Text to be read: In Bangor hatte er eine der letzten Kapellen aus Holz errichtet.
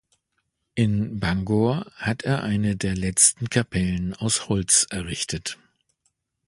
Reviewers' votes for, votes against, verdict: 1, 2, rejected